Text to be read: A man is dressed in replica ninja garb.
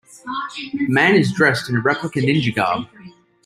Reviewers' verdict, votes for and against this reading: rejected, 0, 2